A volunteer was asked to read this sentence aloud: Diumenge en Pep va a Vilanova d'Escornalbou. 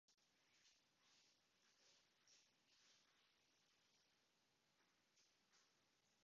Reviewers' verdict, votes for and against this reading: rejected, 1, 2